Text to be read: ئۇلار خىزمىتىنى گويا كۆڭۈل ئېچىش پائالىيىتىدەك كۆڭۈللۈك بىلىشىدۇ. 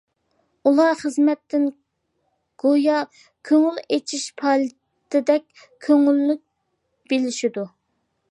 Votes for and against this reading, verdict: 0, 2, rejected